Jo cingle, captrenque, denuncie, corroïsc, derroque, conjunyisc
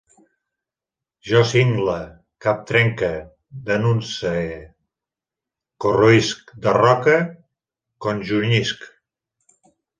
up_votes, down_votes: 2, 3